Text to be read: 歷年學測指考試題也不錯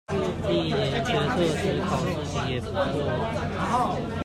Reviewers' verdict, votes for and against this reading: rejected, 0, 2